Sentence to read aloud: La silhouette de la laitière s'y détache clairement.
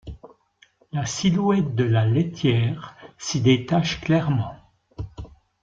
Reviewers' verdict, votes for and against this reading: accepted, 2, 0